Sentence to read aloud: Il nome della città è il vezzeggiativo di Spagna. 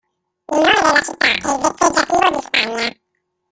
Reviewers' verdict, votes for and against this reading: rejected, 0, 2